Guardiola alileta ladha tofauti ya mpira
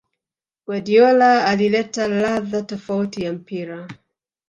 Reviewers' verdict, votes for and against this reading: rejected, 2, 3